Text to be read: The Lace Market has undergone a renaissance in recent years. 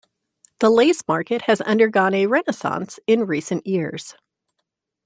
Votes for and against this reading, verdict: 2, 0, accepted